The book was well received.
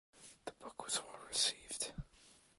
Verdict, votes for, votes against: rejected, 0, 2